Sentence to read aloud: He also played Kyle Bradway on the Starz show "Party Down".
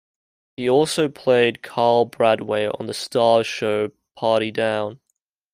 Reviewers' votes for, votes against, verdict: 2, 0, accepted